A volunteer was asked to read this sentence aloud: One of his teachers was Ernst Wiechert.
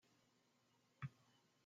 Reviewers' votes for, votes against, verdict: 0, 2, rejected